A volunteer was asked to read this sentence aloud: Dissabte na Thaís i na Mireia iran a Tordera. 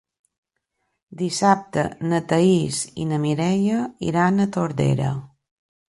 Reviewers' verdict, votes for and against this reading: accepted, 4, 0